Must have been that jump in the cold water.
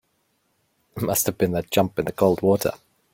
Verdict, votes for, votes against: accepted, 2, 0